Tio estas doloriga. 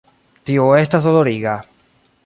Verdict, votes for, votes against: rejected, 1, 2